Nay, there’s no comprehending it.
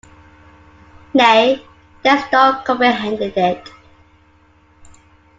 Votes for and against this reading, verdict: 2, 1, accepted